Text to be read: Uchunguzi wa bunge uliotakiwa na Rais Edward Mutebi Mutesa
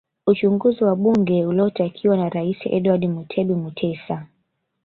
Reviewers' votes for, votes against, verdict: 0, 2, rejected